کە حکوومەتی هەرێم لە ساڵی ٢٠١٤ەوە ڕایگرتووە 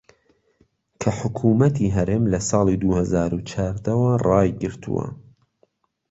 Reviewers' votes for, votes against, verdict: 0, 2, rejected